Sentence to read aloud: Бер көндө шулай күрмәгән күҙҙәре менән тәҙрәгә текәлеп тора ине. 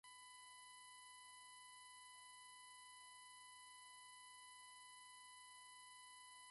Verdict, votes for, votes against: rejected, 0, 3